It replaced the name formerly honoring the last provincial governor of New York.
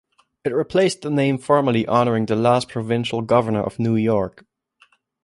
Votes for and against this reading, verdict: 2, 0, accepted